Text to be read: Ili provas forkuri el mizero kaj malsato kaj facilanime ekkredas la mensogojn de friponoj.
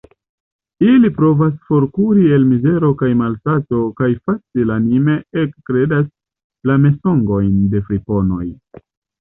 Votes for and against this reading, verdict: 1, 2, rejected